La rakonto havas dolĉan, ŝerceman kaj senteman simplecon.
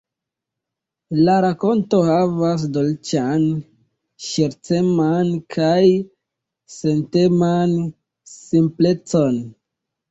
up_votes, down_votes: 1, 2